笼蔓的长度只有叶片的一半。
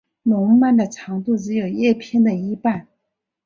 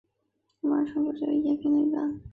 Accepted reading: first